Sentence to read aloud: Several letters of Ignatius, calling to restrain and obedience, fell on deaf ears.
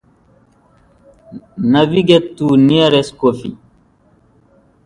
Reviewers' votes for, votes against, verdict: 0, 2, rejected